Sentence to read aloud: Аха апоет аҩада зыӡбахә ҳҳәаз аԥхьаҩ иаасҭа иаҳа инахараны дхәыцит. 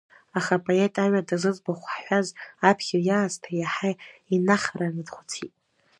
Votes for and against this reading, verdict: 1, 2, rejected